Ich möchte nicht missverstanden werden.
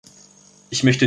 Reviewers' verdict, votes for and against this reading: rejected, 0, 2